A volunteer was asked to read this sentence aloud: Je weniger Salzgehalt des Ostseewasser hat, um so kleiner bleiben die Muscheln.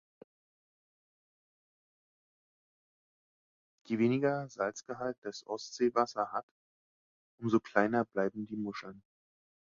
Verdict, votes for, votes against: rejected, 0, 2